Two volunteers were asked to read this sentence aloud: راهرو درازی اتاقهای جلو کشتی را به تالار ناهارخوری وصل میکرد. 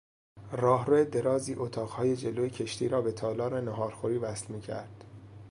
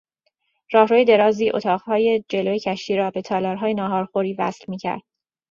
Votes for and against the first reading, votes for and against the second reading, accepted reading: 2, 0, 0, 2, first